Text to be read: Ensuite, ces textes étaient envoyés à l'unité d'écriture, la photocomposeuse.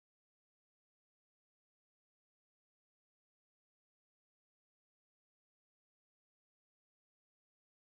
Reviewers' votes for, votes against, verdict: 0, 2, rejected